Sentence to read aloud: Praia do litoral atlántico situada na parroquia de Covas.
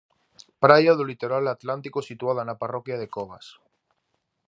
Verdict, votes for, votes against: accepted, 2, 0